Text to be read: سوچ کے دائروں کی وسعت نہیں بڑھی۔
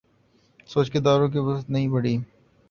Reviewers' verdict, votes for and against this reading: accepted, 2, 0